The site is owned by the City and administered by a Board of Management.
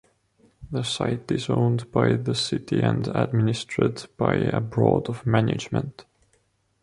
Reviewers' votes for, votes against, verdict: 1, 2, rejected